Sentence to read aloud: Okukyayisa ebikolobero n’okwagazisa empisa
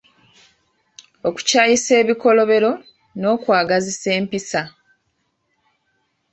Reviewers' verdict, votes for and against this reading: accepted, 2, 0